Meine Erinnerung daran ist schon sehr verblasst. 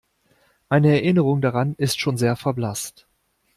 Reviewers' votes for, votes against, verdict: 2, 0, accepted